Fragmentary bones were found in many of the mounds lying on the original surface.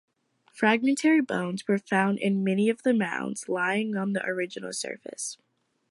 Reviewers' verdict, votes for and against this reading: accepted, 2, 0